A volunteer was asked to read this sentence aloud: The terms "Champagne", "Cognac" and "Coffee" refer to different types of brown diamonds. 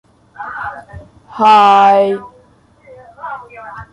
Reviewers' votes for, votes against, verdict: 0, 2, rejected